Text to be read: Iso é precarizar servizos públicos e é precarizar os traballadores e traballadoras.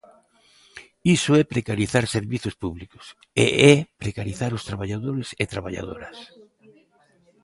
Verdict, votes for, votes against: rejected, 1, 2